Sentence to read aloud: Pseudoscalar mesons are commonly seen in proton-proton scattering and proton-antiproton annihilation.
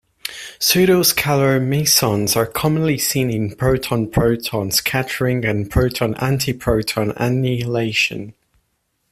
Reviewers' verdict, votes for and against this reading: rejected, 1, 2